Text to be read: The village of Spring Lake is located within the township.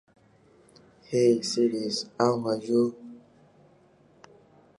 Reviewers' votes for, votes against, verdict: 0, 2, rejected